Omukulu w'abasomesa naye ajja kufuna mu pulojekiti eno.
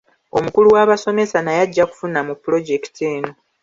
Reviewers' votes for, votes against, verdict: 3, 0, accepted